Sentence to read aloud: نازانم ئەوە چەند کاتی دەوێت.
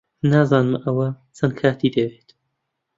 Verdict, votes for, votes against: accepted, 2, 0